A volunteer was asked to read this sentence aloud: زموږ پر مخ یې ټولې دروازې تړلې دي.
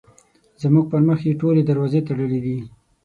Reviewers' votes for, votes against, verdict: 6, 0, accepted